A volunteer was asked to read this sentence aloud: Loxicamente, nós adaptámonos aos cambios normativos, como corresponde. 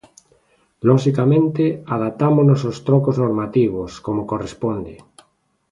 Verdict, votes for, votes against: rejected, 0, 2